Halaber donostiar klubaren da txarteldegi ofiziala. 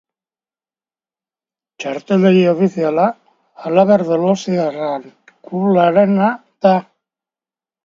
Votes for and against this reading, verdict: 2, 2, rejected